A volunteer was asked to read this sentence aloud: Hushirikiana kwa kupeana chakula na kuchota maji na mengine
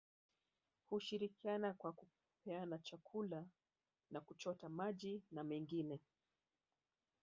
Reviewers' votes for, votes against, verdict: 2, 0, accepted